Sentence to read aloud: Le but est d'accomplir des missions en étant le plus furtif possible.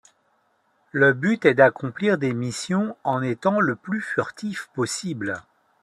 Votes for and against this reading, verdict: 2, 0, accepted